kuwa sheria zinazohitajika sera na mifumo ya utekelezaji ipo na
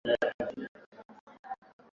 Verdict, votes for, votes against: rejected, 0, 3